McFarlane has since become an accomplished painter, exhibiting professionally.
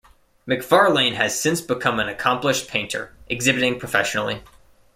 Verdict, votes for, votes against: accepted, 2, 0